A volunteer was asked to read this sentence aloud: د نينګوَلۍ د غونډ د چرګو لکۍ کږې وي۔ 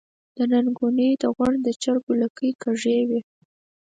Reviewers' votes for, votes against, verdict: 4, 0, accepted